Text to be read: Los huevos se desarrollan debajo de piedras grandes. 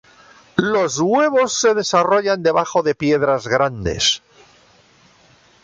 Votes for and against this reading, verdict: 2, 0, accepted